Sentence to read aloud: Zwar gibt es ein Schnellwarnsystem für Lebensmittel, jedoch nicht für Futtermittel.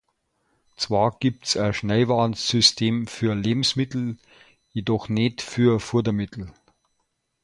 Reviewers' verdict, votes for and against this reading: rejected, 0, 2